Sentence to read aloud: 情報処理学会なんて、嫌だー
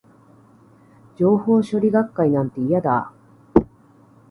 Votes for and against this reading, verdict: 2, 1, accepted